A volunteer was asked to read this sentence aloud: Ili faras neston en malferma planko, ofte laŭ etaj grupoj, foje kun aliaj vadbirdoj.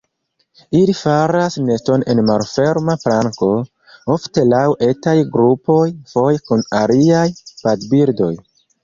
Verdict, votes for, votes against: rejected, 1, 2